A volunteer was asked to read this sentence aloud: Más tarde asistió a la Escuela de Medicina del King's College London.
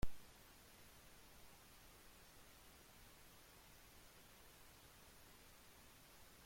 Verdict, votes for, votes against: rejected, 0, 2